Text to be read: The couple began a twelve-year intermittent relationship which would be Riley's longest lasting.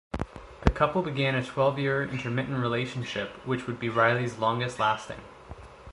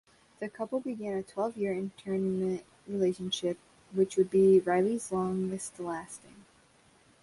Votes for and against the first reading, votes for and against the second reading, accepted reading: 2, 0, 1, 2, first